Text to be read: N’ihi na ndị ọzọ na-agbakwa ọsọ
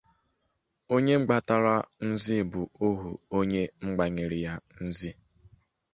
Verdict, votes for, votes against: rejected, 0, 2